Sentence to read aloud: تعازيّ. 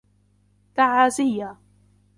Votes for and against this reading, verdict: 1, 2, rejected